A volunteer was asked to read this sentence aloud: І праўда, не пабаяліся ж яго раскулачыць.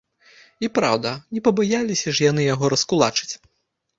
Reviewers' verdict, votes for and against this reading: rejected, 1, 2